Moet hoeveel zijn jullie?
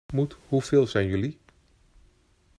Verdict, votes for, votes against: accepted, 2, 0